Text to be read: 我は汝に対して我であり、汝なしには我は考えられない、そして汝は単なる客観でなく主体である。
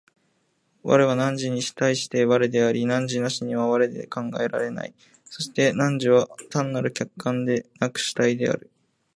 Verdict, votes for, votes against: accepted, 2, 0